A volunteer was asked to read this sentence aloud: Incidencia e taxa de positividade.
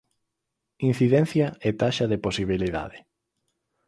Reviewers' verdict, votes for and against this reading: rejected, 0, 4